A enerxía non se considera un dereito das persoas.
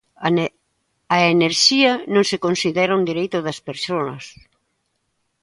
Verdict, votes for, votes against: rejected, 0, 2